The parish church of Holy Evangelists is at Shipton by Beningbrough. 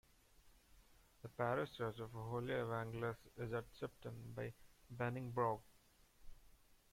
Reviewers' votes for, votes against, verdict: 1, 2, rejected